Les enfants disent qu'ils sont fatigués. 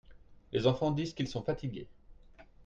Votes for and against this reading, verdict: 2, 0, accepted